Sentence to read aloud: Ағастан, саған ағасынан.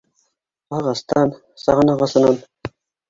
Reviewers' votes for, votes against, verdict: 2, 1, accepted